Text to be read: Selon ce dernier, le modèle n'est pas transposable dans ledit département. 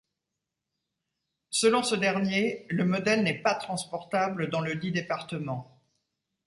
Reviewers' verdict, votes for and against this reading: rejected, 0, 2